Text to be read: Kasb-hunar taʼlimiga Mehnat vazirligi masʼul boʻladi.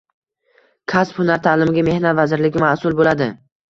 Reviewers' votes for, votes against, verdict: 2, 0, accepted